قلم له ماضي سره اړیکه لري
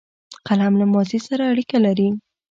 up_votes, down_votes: 2, 0